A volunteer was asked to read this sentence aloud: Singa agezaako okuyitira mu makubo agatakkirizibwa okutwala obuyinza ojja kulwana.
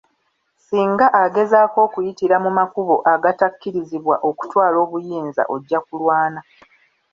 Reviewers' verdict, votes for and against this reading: rejected, 0, 2